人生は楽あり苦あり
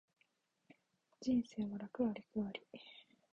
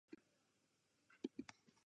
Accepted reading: first